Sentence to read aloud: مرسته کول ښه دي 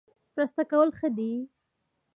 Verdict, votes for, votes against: accepted, 2, 1